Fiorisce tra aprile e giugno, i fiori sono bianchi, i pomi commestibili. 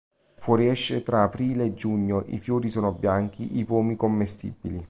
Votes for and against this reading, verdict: 1, 2, rejected